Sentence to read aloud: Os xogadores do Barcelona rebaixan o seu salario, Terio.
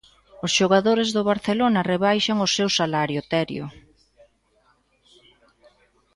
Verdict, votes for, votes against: accepted, 2, 0